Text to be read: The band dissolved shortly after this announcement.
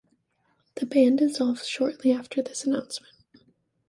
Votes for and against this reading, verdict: 2, 0, accepted